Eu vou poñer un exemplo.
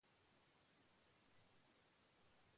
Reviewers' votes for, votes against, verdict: 0, 2, rejected